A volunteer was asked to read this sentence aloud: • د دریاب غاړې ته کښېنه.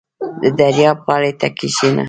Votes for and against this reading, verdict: 0, 2, rejected